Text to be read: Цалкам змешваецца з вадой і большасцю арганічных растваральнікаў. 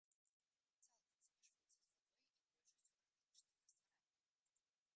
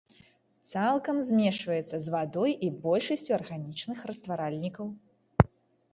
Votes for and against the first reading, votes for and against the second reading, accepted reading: 0, 2, 2, 0, second